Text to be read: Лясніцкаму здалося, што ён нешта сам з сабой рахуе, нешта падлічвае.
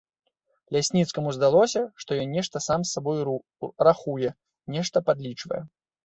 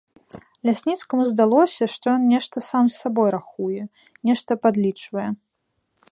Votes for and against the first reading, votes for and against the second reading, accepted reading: 0, 2, 2, 0, second